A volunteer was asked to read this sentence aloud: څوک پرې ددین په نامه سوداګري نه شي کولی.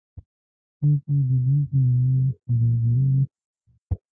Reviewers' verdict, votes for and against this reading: rejected, 0, 2